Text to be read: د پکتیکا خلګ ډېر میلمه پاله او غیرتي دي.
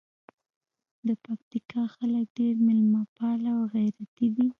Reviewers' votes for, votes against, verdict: 1, 2, rejected